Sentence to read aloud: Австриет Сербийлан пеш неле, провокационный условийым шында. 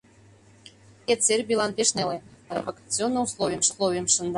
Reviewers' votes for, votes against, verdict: 0, 2, rejected